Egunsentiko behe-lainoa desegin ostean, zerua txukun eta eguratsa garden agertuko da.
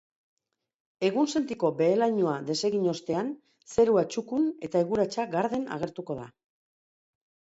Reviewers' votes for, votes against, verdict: 4, 1, accepted